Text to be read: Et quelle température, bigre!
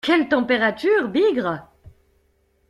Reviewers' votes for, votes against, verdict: 0, 2, rejected